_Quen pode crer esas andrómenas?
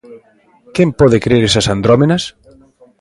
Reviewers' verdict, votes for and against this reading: accepted, 2, 1